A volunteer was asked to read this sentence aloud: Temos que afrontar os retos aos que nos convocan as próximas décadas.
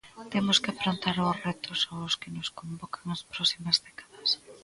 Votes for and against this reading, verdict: 1, 2, rejected